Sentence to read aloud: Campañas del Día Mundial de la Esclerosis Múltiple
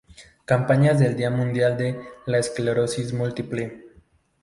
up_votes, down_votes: 2, 0